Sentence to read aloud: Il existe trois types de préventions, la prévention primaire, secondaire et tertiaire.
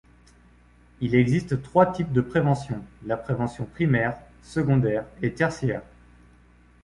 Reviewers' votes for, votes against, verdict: 2, 0, accepted